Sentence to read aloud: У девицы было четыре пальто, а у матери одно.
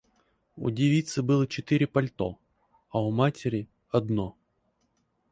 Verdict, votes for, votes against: accepted, 4, 0